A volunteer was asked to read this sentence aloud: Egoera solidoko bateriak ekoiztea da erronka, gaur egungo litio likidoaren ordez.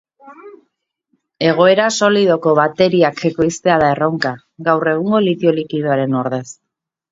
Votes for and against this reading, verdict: 2, 0, accepted